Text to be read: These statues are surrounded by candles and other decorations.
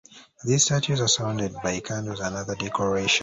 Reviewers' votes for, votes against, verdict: 1, 2, rejected